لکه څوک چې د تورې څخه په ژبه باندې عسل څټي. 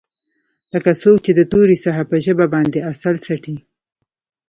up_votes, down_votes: 1, 2